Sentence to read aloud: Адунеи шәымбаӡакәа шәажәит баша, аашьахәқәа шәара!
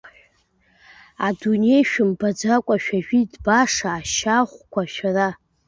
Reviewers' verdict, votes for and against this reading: rejected, 0, 2